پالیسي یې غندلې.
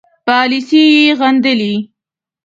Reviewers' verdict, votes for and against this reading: rejected, 1, 2